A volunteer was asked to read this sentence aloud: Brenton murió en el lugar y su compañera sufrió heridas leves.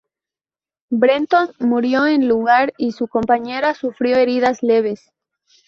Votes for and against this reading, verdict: 0, 2, rejected